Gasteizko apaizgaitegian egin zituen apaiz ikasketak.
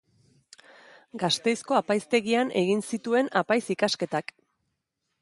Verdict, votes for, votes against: accepted, 2, 0